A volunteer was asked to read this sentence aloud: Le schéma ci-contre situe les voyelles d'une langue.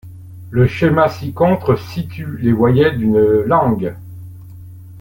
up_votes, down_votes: 1, 2